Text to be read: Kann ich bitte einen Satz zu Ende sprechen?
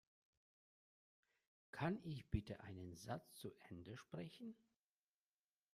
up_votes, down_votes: 2, 0